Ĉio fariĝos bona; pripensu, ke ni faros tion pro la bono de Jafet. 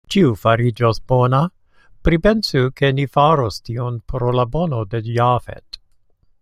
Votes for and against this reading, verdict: 2, 1, accepted